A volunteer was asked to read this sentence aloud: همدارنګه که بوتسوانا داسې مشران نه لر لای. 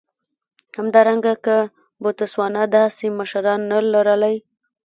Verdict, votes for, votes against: accepted, 2, 0